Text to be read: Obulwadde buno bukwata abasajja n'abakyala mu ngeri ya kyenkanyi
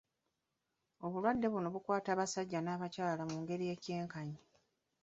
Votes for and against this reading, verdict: 2, 1, accepted